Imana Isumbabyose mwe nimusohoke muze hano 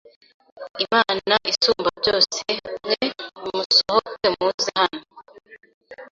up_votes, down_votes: 2, 0